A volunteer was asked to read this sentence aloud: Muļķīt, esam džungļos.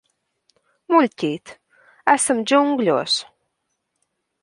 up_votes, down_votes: 2, 0